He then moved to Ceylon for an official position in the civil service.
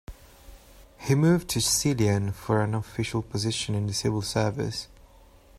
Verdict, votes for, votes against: rejected, 0, 2